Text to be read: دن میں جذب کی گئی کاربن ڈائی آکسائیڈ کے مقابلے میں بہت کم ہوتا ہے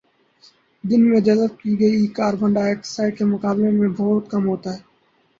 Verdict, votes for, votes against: rejected, 2, 4